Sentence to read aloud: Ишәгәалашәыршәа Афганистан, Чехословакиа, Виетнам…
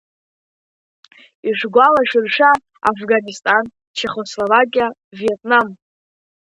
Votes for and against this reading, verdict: 1, 2, rejected